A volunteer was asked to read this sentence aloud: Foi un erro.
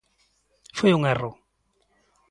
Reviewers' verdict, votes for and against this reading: accepted, 3, 0